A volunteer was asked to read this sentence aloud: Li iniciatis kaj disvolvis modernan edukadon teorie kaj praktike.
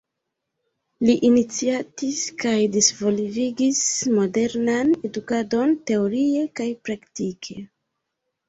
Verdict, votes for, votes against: accepted, 2, 1